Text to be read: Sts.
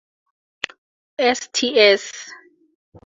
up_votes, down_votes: 4, 0